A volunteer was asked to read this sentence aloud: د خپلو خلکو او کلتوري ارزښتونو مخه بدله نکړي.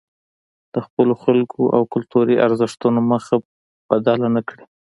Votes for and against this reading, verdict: 2, 1, accepted